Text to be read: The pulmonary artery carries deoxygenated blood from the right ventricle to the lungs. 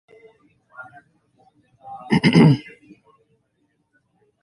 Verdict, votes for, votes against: rejected, 0, 2